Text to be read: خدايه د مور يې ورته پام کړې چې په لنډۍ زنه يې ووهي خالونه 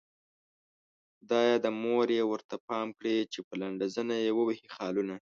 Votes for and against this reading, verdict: 2, 3, rejected